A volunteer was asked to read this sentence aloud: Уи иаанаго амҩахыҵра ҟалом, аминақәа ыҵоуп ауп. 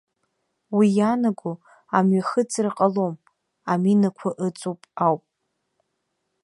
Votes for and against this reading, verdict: 2, 0, accepted